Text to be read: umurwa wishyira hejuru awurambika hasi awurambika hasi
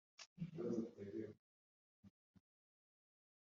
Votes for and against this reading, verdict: 0, 2, rejected